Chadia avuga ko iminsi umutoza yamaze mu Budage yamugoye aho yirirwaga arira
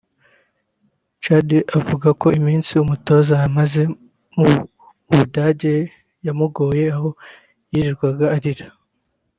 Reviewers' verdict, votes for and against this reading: rejected, 0, 2